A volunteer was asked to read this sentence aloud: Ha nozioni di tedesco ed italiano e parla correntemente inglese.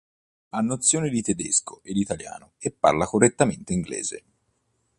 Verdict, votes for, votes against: rejected, 0, 2